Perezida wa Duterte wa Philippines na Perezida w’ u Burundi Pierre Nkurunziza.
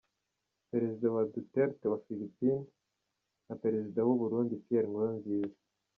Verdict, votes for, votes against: accepted, 2, 0